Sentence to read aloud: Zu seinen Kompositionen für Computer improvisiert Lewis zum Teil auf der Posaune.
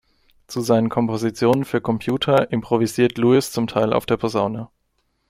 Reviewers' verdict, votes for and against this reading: accepted, 2, 0